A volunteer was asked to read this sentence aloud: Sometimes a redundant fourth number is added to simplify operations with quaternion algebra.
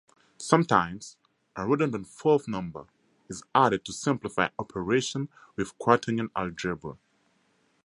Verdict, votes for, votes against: accepted, 4, 0